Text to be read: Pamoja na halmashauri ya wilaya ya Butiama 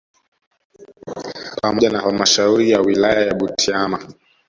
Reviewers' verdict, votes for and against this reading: accepted, 2, 0